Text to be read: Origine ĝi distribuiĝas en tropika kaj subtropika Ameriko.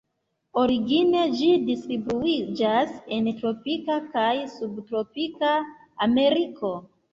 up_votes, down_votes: 1, 2